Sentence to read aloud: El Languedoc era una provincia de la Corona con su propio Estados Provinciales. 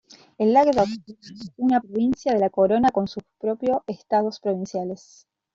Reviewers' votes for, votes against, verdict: 0, 2, rejected